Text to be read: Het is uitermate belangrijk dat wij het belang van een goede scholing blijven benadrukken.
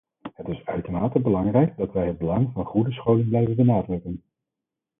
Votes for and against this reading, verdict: 0, 4, rejected